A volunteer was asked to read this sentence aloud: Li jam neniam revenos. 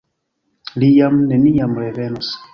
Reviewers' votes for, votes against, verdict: 2, 1, accepted